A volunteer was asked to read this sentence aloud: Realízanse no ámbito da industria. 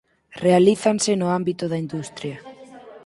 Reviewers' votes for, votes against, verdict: 2, 4, rejected